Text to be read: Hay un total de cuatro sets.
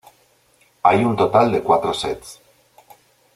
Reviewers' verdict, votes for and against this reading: accepted, 2, 0